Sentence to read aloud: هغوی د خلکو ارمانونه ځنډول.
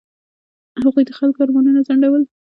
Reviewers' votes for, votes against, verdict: 1, 2, rejected